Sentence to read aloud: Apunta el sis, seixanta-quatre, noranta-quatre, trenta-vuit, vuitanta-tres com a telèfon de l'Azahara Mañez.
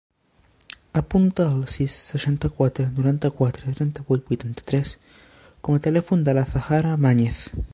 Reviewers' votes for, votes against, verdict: 2, 1, accepted